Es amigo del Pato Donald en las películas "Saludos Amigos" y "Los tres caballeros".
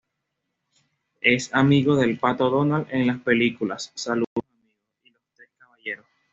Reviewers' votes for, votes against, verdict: 1, 2, rejected